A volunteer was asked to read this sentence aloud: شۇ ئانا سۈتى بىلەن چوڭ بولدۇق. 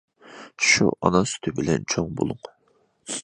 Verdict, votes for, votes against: rejected, 1, 2